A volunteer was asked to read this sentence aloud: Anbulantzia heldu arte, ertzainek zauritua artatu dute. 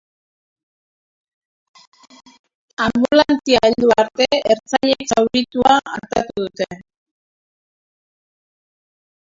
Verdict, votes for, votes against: rejected, 0, 2